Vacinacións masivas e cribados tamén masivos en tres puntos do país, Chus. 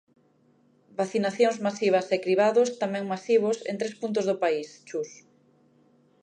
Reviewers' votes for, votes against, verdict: 2, 0, accepted